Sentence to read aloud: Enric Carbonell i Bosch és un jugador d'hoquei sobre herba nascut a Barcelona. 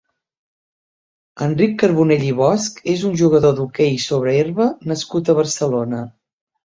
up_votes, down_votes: 3, 0